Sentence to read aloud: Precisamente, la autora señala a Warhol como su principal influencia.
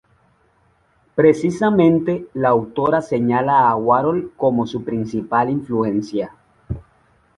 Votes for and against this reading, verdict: 2, 0, accepted